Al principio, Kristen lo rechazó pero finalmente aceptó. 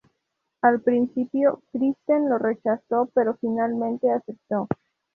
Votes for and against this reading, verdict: 2, 0, accepted